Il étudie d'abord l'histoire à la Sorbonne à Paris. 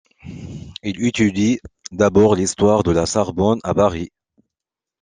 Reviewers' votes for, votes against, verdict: 2, 0, accepted